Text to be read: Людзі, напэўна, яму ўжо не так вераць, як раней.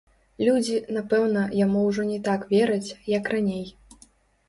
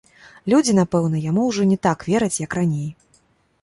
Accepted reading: second